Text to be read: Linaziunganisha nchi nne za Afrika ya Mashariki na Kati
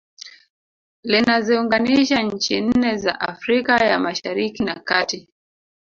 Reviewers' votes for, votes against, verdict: 2, 0, accepted